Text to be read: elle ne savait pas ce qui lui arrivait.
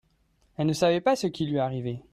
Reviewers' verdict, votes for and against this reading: accepted, 2, 0